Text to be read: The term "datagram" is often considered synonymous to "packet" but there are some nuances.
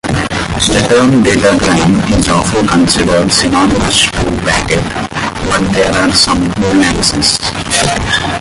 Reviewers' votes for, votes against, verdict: 0, 2, rejected